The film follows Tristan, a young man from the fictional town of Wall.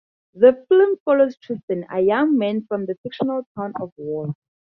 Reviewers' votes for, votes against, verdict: 0, 4, rejected